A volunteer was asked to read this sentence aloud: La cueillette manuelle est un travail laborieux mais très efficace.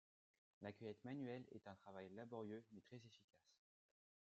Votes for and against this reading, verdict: 1, 2, rejected